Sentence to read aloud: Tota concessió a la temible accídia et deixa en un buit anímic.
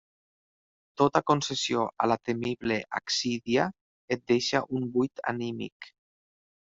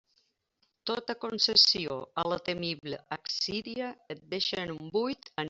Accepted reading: first